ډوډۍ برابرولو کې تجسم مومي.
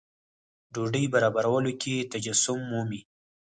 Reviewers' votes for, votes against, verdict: 4, 0, accepted